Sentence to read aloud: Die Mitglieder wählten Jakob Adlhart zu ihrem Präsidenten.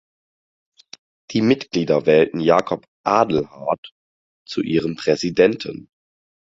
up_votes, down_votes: 4, 0